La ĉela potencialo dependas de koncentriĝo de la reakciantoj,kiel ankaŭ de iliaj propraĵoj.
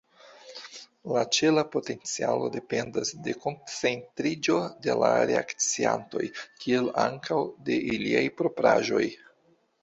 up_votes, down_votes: 2, 1